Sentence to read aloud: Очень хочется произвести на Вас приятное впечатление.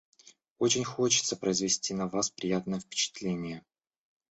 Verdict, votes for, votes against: rejected, 0, 2